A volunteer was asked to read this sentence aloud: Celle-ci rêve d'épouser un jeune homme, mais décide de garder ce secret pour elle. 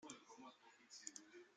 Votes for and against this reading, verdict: 0, 2, rejected